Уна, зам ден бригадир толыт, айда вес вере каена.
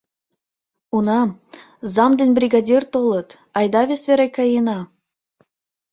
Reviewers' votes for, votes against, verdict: 1, 2, rejected